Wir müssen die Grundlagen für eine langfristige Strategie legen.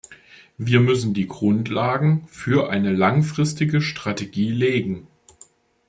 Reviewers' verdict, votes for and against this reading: accepted, 2, 0